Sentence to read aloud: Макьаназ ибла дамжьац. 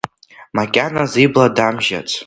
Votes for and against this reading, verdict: 2, 1, accepted